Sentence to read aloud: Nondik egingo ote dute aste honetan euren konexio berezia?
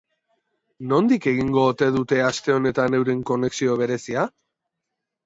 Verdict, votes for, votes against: accepted, 2, 0